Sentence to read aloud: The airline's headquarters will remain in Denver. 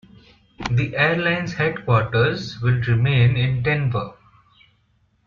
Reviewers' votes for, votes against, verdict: 2, 0, accepted